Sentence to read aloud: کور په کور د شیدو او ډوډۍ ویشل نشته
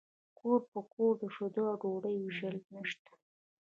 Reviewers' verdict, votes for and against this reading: accepted, 2, 1